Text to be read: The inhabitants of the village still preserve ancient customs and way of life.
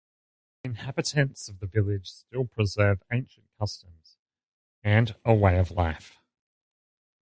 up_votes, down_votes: 0, 2